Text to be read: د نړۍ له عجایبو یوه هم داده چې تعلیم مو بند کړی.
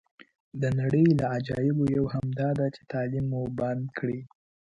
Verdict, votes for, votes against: accepted, 2, 0